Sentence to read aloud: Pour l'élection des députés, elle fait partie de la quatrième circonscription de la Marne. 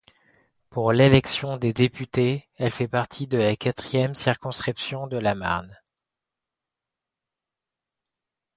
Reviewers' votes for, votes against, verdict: 2, 0, accepted